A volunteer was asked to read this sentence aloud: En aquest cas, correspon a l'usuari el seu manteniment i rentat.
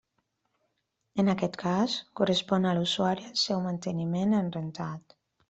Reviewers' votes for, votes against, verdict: 1, 2, rejected